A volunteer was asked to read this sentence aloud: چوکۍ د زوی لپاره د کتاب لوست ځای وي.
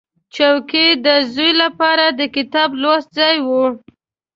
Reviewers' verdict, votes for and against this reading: accepted, 2, 0